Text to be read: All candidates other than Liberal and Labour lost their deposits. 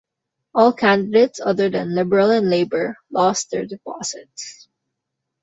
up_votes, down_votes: 2, 0